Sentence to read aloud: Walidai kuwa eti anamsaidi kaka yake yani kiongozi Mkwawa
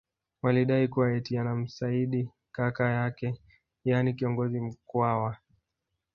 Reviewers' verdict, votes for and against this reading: rejected, 1, 2